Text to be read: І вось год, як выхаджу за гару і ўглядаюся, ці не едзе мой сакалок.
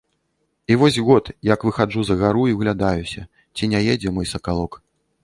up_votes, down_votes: 2, 0